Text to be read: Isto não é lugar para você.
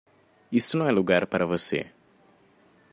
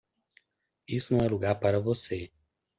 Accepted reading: second